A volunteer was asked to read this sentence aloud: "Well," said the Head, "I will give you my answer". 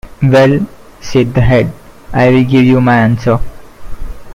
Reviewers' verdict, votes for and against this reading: accepted, 3, 1